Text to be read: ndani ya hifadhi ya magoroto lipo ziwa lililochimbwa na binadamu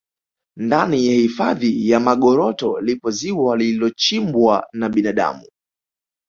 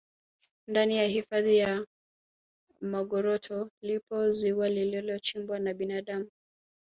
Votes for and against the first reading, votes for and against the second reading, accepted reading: 2, 0, 1, 2, first